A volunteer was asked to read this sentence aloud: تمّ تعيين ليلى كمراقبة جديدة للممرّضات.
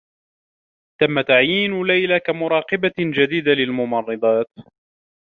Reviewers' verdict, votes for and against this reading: accepted, 2, 0